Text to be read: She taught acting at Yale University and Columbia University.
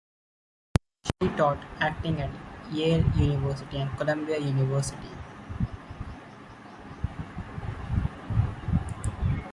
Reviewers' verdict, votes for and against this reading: rejected, 1, 2